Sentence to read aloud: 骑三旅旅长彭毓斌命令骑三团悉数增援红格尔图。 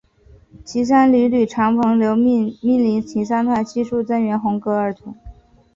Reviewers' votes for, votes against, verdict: 1, 2, rejected